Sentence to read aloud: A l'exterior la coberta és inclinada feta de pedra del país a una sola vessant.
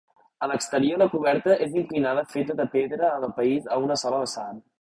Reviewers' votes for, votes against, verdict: 0, 2, rejected